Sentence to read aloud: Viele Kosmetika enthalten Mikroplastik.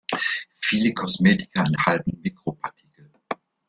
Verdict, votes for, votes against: rejected, 0, 2